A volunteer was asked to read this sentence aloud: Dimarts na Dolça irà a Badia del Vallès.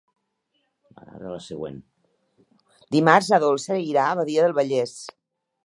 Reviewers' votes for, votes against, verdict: 0, 2, rejected